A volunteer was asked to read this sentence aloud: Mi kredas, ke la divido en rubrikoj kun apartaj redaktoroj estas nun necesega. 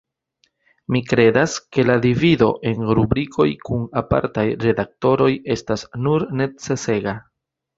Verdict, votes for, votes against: accepted, 2, 0